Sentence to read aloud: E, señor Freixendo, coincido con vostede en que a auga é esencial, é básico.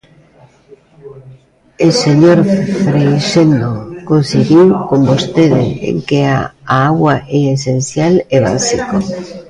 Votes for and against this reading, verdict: 0, 2, rejected